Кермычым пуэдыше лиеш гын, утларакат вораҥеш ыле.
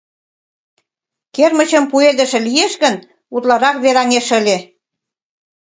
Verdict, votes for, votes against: rejected, 0, 2